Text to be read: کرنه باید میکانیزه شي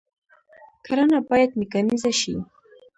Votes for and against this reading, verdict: 1, 2, rejected